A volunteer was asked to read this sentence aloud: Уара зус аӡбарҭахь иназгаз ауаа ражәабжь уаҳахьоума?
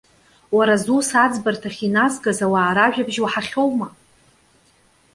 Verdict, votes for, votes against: accepted, 2, 0